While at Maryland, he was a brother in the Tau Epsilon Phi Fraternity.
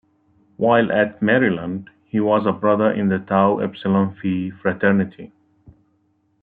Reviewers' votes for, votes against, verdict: 3, 2, accepted